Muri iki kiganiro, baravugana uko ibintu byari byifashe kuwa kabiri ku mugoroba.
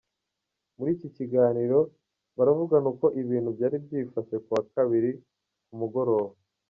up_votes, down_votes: 2, 0